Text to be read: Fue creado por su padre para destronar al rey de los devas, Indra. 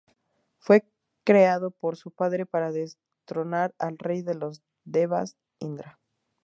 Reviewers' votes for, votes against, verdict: 2, 0, accepted